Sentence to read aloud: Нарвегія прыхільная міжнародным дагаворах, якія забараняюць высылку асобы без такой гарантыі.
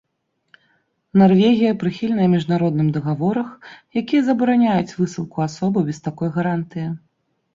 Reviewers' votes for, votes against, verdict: 2, 0, accepted